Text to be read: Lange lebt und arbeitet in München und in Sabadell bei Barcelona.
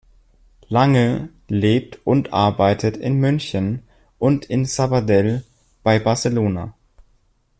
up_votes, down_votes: 2, 0